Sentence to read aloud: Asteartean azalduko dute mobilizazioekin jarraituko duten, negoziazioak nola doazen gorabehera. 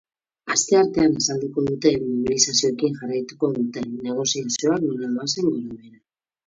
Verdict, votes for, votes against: rejected, 0, 4